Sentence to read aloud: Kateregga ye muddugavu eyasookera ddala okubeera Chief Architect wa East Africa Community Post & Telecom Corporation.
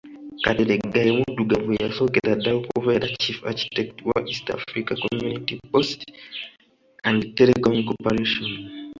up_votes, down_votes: 2, 0